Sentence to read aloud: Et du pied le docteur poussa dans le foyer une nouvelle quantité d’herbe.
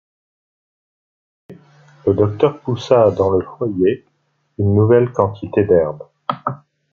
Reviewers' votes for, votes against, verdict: 1, 2, rejected